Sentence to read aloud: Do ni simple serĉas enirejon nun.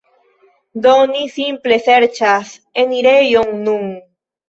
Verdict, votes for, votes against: accepted, 2, 0